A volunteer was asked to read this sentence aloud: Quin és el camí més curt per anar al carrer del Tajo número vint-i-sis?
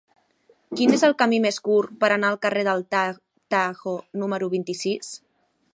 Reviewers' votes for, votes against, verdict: 1, 2, rejected